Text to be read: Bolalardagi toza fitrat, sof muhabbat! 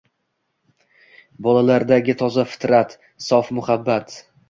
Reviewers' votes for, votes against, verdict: 2, 0, accepted